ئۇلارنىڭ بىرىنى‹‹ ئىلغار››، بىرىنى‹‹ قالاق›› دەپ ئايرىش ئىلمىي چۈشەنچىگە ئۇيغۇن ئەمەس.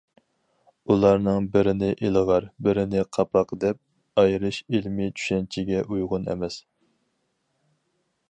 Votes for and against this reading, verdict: 0, 4, rejected